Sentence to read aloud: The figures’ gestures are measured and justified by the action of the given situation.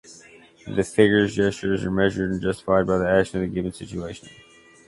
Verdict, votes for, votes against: accepted, 2, 0